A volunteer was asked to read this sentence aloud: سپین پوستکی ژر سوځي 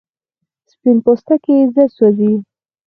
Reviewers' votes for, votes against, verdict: 2, 4, rejected